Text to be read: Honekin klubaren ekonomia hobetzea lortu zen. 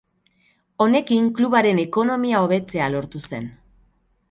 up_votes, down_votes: 4, 0